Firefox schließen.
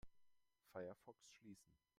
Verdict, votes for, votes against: rejected, 1, 2